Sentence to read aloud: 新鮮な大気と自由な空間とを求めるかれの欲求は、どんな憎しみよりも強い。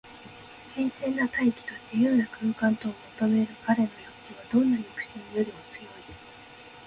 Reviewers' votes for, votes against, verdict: 2, 1, accepted